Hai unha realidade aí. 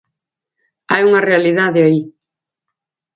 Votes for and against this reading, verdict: 4, 0, accepted